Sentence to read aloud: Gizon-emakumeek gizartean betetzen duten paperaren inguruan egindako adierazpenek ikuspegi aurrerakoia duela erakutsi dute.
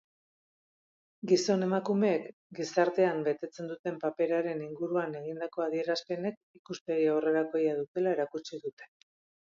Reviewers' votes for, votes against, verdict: 2, 0, accepted